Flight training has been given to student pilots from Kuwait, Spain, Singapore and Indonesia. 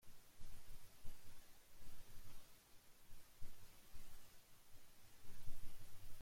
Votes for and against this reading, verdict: 0, 2, rejected